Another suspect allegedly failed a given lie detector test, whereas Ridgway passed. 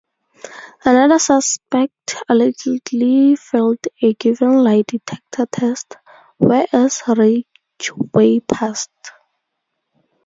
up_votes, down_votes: 2, 0